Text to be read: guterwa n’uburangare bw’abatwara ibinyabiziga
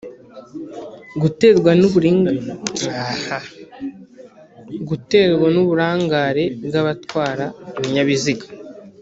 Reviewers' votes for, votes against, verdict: 0, 3, rejected